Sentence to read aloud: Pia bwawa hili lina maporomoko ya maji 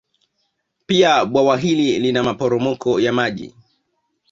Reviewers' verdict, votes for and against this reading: accepted, 2, 0